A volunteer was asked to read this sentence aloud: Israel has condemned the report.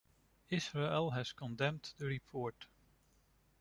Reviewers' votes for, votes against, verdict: 2, 0, accepted